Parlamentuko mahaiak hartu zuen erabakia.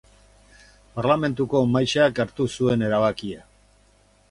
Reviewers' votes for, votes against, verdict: 2, 2, rejected